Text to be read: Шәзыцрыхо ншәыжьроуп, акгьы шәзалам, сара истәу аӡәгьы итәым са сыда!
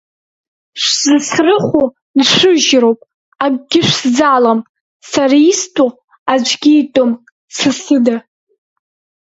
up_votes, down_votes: 0, 2